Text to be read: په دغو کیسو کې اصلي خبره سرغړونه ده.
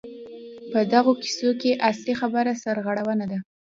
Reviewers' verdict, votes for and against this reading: accepted, 2, 0